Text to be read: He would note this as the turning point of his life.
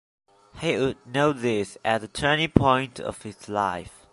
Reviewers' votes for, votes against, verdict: 2, 0, accepted